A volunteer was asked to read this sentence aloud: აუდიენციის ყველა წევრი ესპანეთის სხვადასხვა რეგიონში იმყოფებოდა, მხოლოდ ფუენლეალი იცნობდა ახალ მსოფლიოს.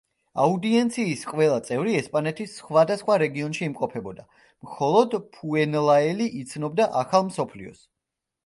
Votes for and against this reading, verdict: 0, 2, rejected